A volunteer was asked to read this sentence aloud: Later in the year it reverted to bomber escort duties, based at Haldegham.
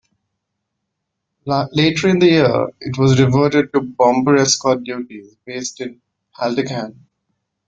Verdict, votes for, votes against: rejected, 1, 2